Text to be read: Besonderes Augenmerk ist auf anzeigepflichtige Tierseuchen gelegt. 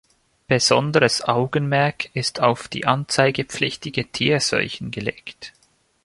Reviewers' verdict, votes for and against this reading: rejected, 0, 2